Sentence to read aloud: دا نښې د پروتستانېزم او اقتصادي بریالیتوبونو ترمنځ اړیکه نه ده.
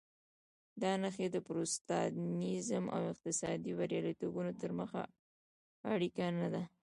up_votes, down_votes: 1, 2